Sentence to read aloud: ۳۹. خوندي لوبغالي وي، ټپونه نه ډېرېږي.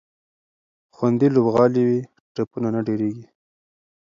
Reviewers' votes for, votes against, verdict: 0, 2, rejected